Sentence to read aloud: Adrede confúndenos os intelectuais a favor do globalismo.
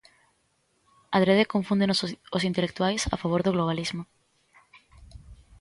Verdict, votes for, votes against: rejected, 0, 2